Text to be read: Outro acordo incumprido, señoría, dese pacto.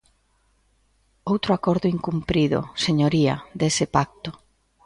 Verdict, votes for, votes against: accepted, 2, 0